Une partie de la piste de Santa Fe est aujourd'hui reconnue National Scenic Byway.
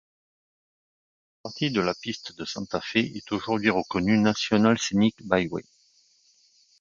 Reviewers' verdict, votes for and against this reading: rejected, 0, 2